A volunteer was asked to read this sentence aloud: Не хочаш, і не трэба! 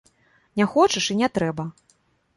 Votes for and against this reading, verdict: 2, 0, accepted